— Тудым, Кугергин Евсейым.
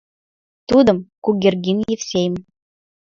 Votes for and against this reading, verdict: 1, 2, rejected